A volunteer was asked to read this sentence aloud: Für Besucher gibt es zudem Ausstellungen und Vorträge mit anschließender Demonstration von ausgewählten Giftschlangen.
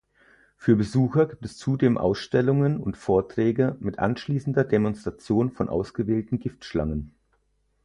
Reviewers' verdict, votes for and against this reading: rejected, 2, 4